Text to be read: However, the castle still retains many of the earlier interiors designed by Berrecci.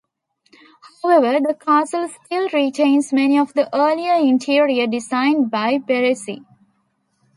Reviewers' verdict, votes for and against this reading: accepted, 2, 1